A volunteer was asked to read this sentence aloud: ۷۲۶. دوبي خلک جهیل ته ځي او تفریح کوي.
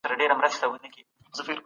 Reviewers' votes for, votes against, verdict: 0, 2, rejected